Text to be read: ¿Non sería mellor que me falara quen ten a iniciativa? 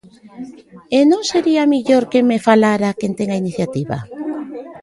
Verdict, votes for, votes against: rejected, 1, 2